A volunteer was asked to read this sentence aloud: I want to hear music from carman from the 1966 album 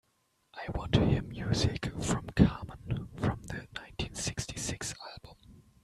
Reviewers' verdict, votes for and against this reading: rejected, 0, 2